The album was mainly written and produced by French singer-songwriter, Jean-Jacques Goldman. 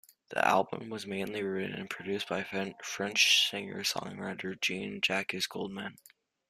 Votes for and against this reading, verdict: 0, 2, rejected